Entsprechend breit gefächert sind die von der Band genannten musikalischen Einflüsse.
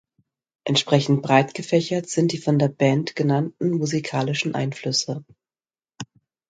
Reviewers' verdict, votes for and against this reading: accepted, 2, 0